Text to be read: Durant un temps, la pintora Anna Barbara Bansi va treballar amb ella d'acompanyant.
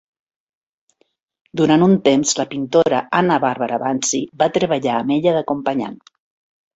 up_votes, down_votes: 2, 1